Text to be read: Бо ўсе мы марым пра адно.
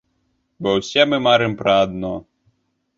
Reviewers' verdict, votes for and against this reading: accepted, 2, 0